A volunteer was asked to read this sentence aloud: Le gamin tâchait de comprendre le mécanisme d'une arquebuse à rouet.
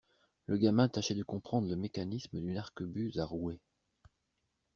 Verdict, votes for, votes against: accepted, 2, 0